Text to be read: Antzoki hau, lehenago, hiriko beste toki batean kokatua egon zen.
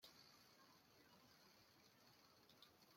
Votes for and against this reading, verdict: 0, 2, rejected